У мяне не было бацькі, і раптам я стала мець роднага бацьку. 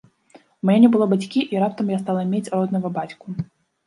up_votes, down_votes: 0, 2